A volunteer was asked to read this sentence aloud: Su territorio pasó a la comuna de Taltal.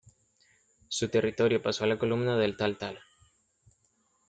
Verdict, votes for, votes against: rejected, 0, 2